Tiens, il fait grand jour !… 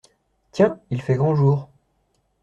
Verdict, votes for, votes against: accepted, 2, 0